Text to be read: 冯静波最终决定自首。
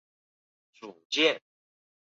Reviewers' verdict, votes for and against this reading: rejected, 1, 3